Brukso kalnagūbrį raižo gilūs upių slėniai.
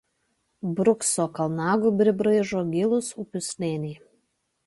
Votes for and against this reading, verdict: 0, 2, rejected